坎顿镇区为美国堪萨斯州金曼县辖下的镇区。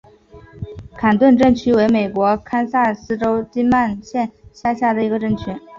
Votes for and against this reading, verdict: 0, 2, rejected